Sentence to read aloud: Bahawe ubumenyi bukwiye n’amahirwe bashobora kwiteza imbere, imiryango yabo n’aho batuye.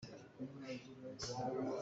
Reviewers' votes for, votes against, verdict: 0, 2, rejected